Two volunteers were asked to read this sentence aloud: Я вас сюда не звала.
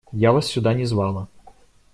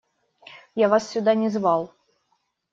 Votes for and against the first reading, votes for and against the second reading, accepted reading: 2, 0, 0, 2, first